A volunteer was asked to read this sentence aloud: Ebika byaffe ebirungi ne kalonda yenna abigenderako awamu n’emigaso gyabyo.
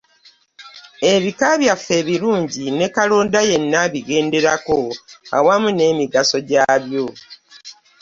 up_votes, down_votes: 2, 0